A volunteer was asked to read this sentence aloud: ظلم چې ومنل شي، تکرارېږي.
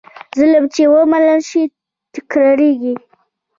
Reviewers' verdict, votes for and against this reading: accepted, 2, 0